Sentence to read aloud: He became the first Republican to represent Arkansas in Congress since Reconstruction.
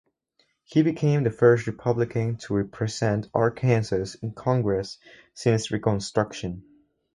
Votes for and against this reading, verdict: 0, 2, rejected